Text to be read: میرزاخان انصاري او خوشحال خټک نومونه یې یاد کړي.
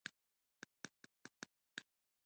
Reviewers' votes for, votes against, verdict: 0, 2, rejected